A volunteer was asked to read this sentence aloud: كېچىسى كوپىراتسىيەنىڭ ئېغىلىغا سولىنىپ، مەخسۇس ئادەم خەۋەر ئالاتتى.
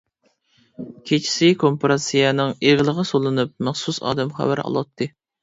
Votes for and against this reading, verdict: 1, 2, rejected